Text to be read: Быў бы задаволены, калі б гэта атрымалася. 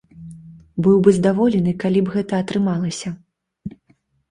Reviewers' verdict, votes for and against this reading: rejected, 1, 2